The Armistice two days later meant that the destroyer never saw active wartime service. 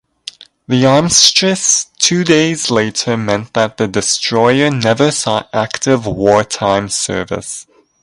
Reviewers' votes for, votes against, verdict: 0, 2, rejected